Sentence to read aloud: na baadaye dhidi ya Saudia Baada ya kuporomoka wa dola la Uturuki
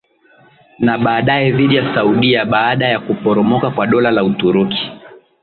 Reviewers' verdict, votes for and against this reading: accepted, 6, 0